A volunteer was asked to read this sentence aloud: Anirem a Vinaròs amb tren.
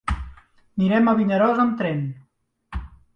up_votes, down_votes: 2, 1